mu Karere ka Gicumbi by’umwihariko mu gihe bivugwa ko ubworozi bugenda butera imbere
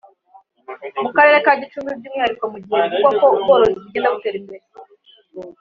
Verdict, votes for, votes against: accepted, 2, 0